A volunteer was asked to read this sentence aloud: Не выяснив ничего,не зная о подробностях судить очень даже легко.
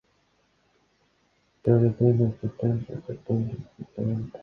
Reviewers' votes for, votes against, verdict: 0, 2, rejected